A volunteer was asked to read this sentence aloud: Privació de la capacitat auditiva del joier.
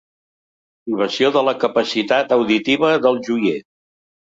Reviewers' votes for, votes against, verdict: 2, 3, rejected